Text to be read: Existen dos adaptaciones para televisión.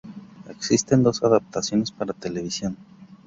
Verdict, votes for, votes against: rejected, 0, 2